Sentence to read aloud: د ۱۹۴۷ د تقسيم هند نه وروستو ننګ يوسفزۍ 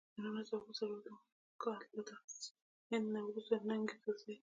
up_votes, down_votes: 0, 2